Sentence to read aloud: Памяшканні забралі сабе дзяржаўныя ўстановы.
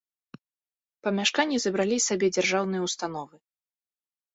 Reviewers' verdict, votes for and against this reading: rejected, 0, 2